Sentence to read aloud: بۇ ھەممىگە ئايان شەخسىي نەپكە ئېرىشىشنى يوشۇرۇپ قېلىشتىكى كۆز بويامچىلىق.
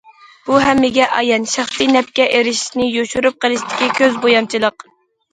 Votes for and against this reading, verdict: 2, 0, accepted